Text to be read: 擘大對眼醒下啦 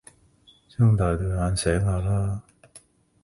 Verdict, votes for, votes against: rejected, 1, 3